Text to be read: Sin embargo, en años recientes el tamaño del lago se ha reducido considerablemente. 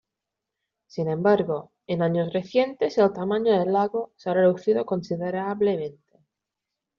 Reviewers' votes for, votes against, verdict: 0, 2, rejected